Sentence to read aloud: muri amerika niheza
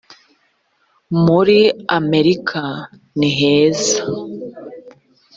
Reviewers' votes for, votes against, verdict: 4, 0, accepted